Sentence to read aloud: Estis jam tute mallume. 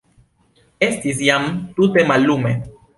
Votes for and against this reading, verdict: 2, 0, accepted